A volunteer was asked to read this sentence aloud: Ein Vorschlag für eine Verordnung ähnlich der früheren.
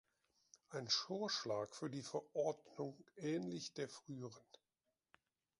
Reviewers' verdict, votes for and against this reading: rejected, 1, 2